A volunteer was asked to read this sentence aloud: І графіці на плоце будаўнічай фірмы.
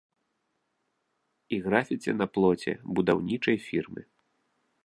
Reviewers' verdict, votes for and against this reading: accepted, 2, 1